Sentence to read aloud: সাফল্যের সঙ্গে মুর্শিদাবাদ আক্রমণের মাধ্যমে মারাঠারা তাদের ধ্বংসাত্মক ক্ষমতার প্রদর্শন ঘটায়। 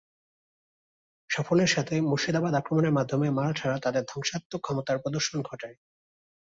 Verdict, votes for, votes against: rejected, 0, 2